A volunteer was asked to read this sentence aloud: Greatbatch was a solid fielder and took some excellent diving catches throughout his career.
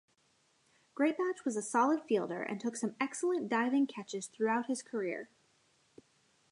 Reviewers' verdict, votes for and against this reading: rejected, 1, 2